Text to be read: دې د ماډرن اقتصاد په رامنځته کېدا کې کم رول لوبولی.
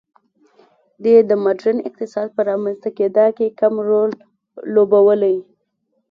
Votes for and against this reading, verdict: 2, 0, accepted